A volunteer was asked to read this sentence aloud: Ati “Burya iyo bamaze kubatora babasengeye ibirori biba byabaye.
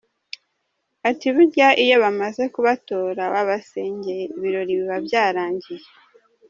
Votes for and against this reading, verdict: 0, 2, rejected